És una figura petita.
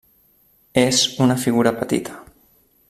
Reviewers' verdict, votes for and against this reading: accepted, 3, 0